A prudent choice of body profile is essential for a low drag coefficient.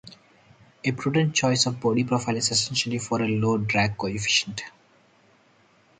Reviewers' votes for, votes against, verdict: 2, 2, rejected